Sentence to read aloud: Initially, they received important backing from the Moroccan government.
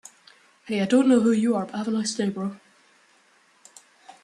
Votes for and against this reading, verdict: 0, 2, rejected